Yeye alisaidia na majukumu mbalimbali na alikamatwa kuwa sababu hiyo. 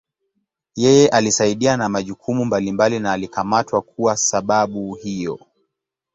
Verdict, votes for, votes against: accepted, 6, 1